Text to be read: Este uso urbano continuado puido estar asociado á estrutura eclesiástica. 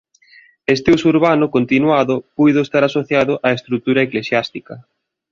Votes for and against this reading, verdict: 2, 0, accepted